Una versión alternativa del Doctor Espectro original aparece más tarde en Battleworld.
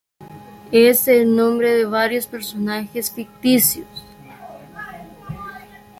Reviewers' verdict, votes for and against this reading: rejected, 0, 2